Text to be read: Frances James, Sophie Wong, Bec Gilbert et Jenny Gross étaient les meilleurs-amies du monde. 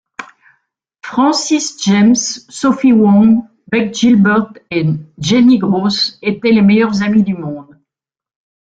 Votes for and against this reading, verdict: 0, 2, rejected